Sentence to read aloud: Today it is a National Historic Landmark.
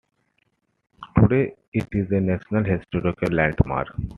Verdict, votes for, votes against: accepted, 2, 1